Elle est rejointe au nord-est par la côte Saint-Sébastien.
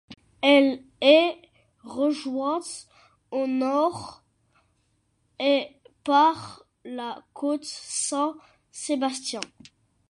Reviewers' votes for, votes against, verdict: 1, 2, rejected